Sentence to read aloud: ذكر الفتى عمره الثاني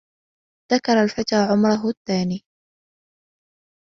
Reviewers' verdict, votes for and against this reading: accepted, 2, 1